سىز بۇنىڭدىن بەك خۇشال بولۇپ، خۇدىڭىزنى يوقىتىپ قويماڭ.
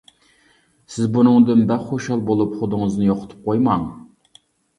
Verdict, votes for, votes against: accepted, 2, 0